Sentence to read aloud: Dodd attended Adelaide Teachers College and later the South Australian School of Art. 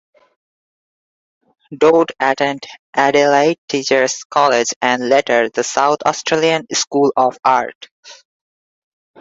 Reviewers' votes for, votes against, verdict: 2, 1, accepted